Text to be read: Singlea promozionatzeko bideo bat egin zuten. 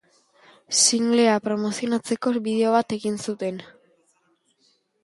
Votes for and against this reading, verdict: 5, 2, accepted